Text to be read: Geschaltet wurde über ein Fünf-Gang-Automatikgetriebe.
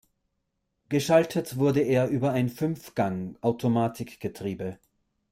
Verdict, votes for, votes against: rejected, 0, 2